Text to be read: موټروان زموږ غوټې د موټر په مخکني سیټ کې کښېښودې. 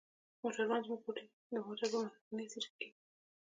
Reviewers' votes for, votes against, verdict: 1, 2, rejected